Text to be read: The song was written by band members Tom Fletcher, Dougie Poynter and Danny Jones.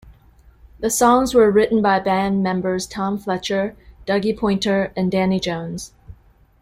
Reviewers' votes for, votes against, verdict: 0, 2, rejected